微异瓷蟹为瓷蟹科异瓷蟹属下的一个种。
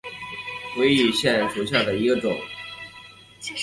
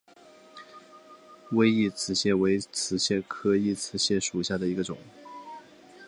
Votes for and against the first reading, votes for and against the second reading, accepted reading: 2, 3, 4, 1, second